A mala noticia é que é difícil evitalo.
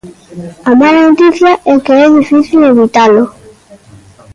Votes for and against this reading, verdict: 2, 0, accepted